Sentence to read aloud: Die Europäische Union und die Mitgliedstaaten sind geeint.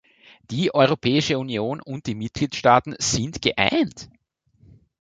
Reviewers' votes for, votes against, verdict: 2, 0, accepted